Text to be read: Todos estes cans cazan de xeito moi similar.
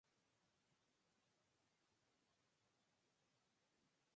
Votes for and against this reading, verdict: 0, 4, rejected